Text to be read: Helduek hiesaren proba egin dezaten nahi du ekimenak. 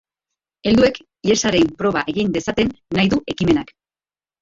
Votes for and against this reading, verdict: 2, 1, accepted